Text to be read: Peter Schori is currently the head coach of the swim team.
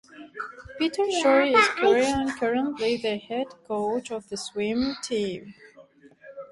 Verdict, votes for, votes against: rejected, 0, 2